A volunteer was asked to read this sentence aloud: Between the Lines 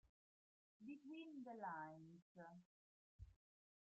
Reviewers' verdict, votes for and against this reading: rejected, 0, 2